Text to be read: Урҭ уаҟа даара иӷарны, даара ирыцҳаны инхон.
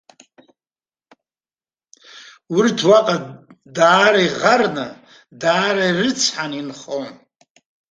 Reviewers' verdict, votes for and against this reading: accepted, 2, 0